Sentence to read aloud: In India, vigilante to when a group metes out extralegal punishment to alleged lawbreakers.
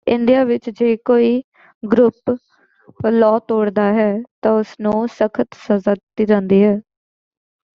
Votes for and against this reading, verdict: 0, 2, rejected